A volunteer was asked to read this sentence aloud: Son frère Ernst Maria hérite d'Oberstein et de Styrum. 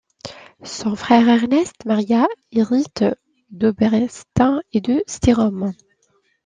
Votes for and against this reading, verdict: 0, 2, rejected